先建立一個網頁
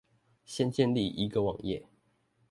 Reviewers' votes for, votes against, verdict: 2, 0, accepted